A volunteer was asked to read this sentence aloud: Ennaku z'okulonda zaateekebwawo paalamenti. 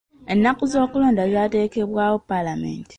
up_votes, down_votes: 2, 0